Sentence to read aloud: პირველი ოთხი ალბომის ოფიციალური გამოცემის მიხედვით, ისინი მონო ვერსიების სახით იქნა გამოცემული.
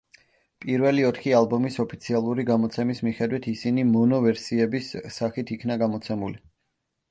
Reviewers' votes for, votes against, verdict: 2, 0, accepted